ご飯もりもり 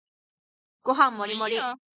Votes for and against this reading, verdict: 2, 1, accepted